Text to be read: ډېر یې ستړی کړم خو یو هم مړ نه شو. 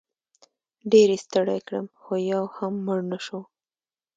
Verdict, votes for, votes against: accepted, 2, 0